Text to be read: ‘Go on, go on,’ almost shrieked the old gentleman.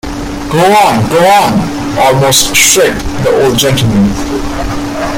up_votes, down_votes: 1, 2